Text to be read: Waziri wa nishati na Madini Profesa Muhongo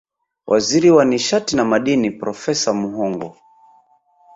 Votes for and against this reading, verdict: 2, 0, accepted